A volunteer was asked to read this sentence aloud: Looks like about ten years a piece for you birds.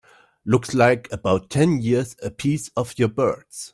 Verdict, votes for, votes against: rejected, 0, 2